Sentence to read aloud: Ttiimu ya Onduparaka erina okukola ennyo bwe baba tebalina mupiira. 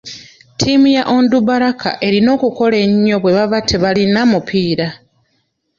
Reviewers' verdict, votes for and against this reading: rejected, 0, 2